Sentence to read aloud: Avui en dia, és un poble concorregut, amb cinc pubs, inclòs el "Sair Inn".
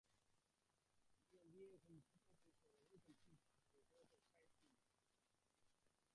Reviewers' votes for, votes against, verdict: 1, 2, rejected